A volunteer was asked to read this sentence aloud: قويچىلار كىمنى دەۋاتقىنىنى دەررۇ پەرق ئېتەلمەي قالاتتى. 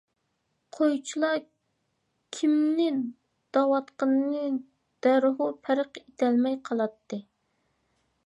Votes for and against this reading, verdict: 2, 1, accepted